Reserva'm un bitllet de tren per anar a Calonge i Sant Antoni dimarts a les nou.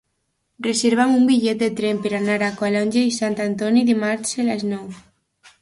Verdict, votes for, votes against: accepted, 2, 0